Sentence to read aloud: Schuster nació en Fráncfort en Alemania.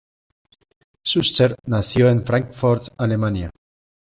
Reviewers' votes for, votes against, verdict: 0, 2, rejected